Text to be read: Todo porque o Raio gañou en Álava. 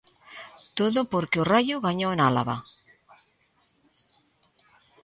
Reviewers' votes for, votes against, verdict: 2, 0, accepted